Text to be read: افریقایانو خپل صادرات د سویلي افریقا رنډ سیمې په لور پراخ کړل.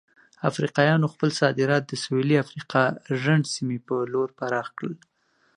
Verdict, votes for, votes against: accepted, 2, 0